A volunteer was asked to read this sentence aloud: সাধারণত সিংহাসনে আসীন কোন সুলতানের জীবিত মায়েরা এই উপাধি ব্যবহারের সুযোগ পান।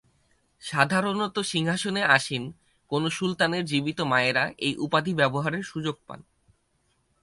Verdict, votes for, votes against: accepted, 4, 2